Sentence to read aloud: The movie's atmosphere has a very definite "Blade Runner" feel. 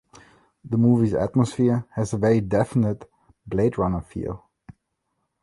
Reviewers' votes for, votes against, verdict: 2, 0, accepted